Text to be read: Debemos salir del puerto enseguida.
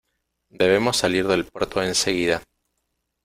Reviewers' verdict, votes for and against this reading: rejected, 1, 2